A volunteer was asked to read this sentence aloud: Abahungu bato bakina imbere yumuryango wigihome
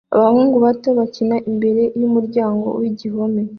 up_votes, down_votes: 2, 0